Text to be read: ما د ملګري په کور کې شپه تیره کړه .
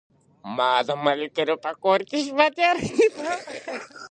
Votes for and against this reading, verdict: 2, 1, accepted